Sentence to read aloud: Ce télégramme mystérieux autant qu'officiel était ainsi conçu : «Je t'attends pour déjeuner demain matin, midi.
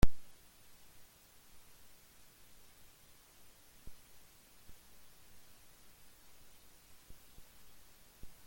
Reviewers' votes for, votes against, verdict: 0, 2, rejected